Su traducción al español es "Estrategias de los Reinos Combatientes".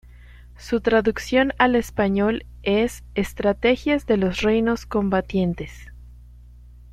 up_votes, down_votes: 2, 0